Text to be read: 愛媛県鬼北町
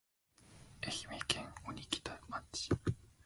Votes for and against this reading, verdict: 0, 2, rejected